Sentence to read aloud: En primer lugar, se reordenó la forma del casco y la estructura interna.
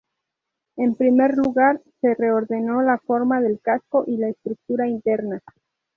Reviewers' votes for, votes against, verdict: 2, 0, accepted